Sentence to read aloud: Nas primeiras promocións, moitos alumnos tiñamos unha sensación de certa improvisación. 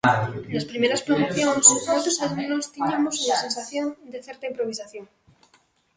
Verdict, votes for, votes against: rejected, 1, 2